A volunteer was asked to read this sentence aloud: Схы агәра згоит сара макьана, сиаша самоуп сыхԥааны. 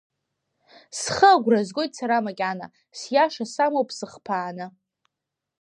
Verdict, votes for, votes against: accepted, 2, 0